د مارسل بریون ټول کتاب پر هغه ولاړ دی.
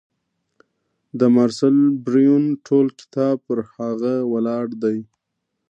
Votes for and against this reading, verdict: 1, 2, rejected